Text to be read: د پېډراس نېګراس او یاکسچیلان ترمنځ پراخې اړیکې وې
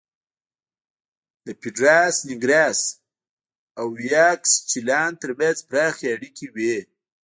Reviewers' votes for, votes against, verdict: 1, 2, rejected